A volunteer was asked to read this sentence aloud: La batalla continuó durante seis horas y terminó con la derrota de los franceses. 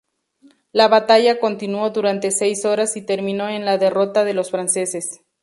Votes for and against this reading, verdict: 0, 2, rejected